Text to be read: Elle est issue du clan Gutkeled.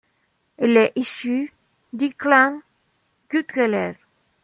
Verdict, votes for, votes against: accepted, 2, 1